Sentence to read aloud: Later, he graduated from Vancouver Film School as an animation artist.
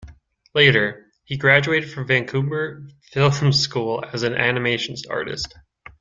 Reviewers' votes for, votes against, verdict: 2, 1, accepted